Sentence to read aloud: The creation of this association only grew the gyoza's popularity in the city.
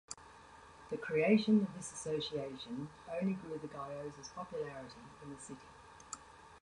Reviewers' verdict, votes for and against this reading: rejected, 1, 2